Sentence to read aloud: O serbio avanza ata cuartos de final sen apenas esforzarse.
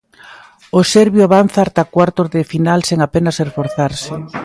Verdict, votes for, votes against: accepted, 2, 0